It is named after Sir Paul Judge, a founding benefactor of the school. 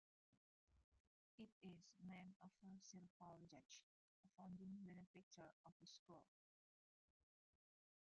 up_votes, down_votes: 0, 2